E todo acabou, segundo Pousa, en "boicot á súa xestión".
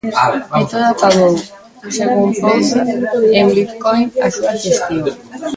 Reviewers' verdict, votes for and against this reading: rejected, 0, 2